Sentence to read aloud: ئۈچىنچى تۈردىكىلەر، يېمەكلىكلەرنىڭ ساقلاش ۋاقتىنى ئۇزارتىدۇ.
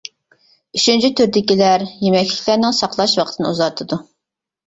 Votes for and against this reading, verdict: 2, 0, accepted